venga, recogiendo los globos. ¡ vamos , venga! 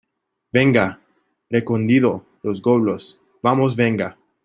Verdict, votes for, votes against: rejected, 0, 2